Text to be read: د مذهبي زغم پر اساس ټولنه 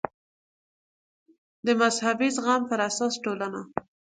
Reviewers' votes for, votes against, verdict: 2, 0, accepted